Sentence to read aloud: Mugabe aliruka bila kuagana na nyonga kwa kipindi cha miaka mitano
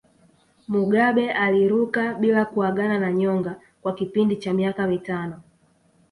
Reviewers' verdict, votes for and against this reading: rejected, 0, 2